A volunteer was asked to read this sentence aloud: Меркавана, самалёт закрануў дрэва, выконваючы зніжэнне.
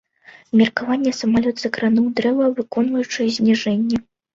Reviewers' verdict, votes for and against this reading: rejected, 0, 2